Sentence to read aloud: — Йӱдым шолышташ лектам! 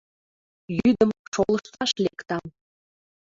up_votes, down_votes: 2, 0